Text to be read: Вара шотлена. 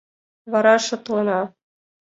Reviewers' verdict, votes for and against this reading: accepted, 2, 0